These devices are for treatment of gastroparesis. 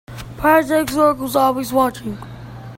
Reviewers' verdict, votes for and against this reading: rejected, 0, 2